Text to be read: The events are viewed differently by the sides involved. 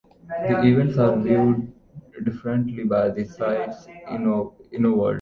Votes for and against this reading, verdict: 0, 2, rejected